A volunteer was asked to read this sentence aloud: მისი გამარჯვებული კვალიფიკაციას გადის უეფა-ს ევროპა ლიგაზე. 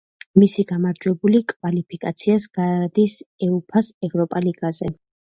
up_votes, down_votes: 2, 0